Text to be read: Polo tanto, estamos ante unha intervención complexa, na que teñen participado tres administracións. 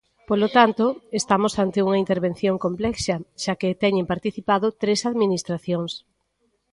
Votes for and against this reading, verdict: 0, 2, rejected